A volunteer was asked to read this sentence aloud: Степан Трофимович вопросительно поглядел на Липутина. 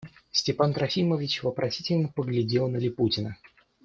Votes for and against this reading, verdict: 2, 0, accepted